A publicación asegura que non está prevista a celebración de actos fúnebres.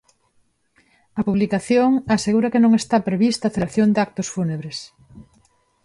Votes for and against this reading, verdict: 0, 2, rejected